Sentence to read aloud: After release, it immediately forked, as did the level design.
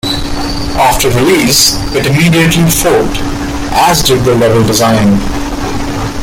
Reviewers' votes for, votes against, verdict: 1, 2, rejected